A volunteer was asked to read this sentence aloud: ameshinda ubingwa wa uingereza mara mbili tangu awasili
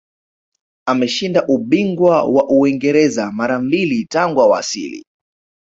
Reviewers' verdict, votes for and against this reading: rejected, 1, 2